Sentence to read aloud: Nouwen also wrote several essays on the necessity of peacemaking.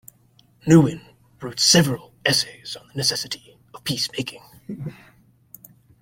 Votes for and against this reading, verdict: 0, 2, rejected